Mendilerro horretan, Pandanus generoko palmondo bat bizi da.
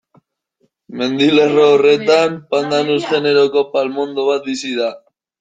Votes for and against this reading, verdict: 0, 2, rejected